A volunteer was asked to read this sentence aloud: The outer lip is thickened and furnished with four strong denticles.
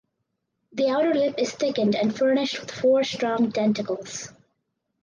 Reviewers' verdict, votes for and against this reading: rejected, 2, 2